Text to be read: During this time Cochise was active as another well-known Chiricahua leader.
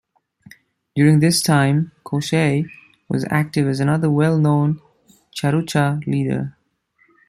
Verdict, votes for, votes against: rejected, 0, 2